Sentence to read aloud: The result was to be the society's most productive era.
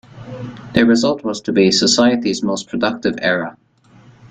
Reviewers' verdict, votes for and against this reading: accepted, 2, 0